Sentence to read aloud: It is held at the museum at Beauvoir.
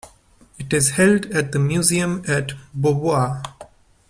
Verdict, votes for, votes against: accepted, 2, 0